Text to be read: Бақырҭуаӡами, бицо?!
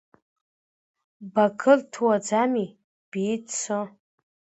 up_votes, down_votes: 0, 2